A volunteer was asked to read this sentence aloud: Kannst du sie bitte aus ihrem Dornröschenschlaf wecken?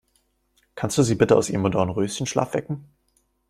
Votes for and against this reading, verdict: 1, 2, rejected